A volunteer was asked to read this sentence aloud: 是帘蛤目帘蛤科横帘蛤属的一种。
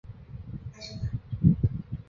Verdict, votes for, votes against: rejected, 0, 2